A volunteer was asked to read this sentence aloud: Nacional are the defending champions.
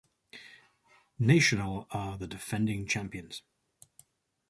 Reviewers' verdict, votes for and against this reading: rejected, 0, 4